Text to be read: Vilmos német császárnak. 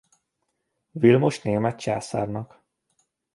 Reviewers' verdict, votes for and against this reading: rejected, 1, 2